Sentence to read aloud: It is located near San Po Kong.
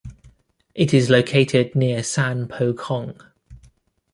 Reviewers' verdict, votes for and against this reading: rejected, 1, 2